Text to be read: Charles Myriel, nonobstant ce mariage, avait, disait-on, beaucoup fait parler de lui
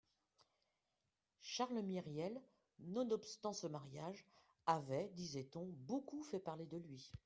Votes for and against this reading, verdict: 2, 0, accepted